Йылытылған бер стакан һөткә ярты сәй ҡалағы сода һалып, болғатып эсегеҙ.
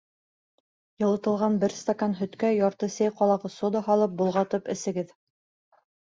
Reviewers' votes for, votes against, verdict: 3, 0, accepted